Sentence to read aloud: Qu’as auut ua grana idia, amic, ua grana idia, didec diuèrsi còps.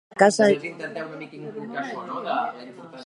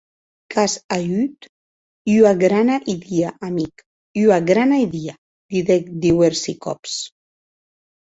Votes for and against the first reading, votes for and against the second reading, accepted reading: 0, 3, 2, 0, second